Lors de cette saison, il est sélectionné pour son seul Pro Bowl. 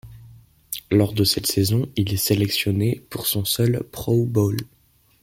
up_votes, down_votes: 2, 0